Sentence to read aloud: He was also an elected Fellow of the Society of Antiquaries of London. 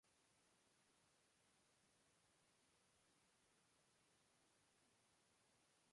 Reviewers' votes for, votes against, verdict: 0, 2, rejected